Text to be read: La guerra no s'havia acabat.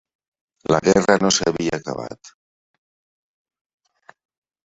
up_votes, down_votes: 0, 2